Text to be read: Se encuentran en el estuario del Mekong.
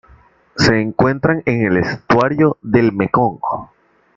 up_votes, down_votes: 2, 0